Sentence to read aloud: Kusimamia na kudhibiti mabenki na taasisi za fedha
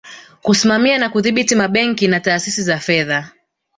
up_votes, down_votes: 3, 1